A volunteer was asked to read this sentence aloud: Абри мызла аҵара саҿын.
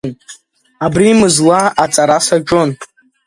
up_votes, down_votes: 2, 0